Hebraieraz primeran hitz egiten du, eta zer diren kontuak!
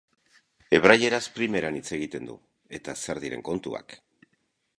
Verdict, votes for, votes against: accepted, 2, 0